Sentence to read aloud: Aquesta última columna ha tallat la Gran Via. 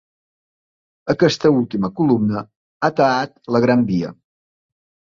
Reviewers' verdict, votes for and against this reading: rejected, 2, 3